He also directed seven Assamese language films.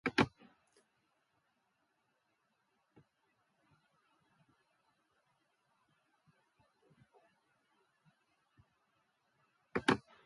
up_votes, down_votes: 0, 2